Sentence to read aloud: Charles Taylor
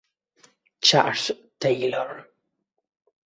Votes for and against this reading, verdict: 2, 1, accepted